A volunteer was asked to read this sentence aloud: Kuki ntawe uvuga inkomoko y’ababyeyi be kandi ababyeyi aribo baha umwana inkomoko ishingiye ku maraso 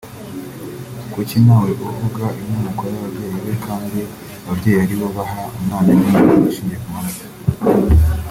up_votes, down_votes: 1, 2